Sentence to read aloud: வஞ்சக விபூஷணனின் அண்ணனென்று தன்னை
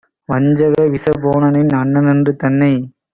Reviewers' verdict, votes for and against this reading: rejected, 0, 2